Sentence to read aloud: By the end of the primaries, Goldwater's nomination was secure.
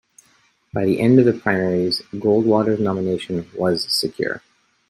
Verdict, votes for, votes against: accepted, 2, 1